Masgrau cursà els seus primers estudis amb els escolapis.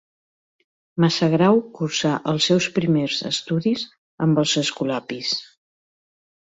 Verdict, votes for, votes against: rejected, 0, 2